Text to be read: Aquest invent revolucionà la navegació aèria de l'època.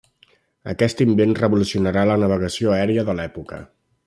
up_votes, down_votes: 1, 2